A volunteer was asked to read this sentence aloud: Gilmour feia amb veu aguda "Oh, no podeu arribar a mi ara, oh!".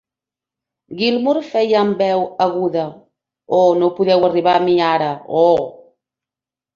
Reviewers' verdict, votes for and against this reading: accepted, 2, 0